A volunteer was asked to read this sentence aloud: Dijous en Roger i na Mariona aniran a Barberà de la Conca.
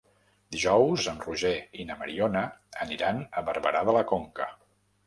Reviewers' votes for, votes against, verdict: 3, 0, accepted